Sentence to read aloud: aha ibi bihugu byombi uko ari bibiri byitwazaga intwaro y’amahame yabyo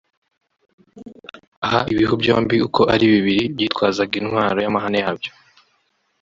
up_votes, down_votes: 1, 2